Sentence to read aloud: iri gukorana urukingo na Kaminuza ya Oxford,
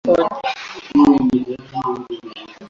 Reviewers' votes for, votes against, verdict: 1, 2, rejected